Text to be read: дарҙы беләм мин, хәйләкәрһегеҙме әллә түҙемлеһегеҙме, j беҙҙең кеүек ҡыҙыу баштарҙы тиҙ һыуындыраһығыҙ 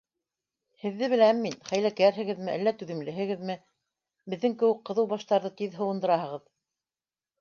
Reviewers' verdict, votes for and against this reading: accepted, 2, 0